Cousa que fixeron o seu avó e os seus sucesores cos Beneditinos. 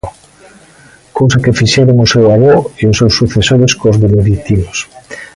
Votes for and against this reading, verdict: 2, 0, accepted